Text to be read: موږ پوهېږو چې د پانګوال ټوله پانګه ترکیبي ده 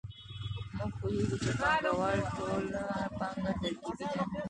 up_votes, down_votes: 2, 1